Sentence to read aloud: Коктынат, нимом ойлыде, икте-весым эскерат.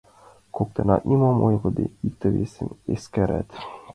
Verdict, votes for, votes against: accepted, 2, 1